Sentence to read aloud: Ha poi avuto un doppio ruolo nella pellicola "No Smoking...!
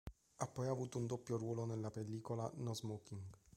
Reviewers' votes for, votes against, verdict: 3, 0, accepted